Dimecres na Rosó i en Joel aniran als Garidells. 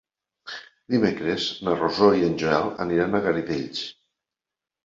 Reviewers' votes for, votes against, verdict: 1, 2, rejected